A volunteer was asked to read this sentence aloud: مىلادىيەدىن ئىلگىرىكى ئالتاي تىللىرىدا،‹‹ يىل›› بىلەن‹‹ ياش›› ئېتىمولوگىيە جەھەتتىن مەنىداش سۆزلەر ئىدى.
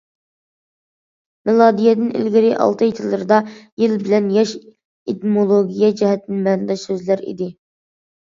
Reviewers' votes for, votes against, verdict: 0, 2, rejected